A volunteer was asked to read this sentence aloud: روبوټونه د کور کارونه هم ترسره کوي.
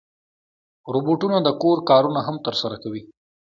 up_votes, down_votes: 2, 0